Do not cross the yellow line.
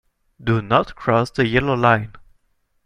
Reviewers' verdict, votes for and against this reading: accepted, 2, 0